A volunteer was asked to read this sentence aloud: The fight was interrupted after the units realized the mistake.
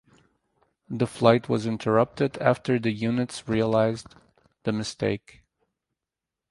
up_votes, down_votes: 0, 4